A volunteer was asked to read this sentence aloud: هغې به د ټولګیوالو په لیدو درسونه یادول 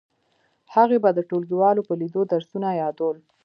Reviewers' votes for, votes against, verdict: 1, 2, rejected